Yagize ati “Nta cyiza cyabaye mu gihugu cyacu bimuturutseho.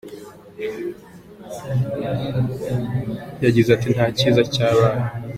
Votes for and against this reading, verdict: 0, 2, rejected